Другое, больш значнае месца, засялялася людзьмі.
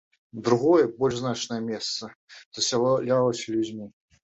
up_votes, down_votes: 1, 2